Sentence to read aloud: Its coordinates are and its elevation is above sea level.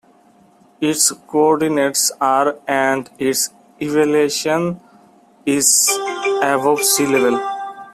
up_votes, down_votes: 0, 2